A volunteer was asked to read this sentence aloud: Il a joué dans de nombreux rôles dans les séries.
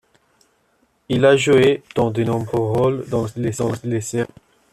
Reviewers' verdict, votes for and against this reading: rejected, 0, 2